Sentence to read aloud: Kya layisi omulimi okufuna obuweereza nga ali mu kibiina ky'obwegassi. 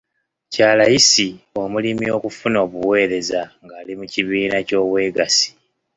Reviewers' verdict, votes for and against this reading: accepted, 2, 0